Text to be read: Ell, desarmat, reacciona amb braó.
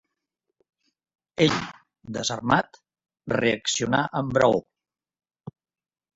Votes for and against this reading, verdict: 1, 2, rejected